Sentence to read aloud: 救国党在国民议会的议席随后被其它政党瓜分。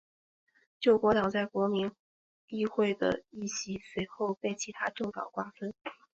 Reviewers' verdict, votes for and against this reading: accepted, 2, 0